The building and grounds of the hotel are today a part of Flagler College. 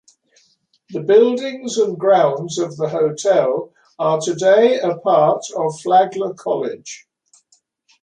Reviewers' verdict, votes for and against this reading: rejected, 0, 2